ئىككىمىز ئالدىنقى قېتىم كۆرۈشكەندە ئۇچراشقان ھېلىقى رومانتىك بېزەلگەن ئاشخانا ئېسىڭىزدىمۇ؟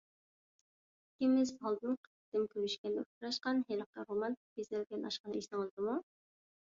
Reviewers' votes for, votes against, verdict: 0, 2, rejected